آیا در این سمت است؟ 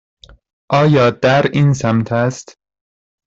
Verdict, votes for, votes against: accepted, 2, 0